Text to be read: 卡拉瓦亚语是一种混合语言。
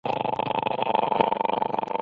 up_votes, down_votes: 0, 2